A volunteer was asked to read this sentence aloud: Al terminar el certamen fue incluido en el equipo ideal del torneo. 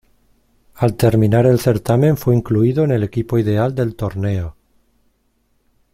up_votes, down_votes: 2, 0